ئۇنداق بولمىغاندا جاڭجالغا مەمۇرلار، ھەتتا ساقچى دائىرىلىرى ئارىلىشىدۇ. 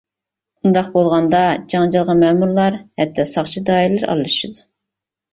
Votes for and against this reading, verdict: 0, 2, rejected